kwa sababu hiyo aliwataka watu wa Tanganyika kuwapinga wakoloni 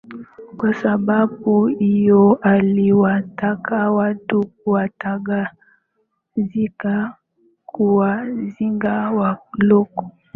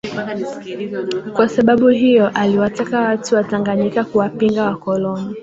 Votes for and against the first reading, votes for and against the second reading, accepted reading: 0, 2, 2, 0, second